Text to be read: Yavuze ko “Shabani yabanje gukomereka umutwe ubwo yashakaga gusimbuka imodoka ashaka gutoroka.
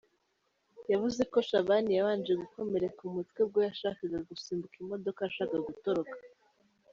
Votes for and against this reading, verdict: 2, 0, accepted